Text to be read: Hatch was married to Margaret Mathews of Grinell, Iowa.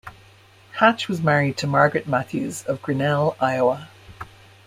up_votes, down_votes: 2, 0